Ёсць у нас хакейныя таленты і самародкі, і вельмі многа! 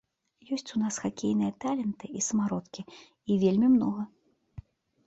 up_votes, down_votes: 2, 0